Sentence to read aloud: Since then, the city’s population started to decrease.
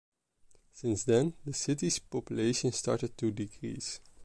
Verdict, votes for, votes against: accepted, 2, 0